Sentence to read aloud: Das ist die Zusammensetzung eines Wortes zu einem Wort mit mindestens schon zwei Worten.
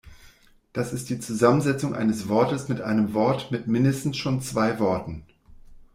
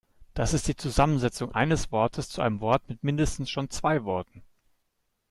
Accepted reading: second